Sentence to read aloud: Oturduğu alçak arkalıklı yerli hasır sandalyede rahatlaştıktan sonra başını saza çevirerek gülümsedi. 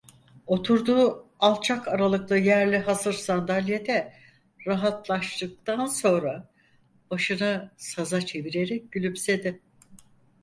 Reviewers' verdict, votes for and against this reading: rejected, 0, 4